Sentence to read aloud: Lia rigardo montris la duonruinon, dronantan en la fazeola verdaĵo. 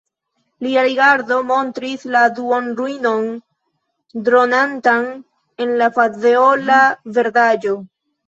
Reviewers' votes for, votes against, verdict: 0, 2, rejected